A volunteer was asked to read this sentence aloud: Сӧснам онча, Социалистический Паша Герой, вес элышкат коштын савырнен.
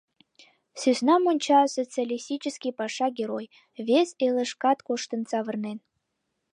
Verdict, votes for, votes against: accepted, 2, 0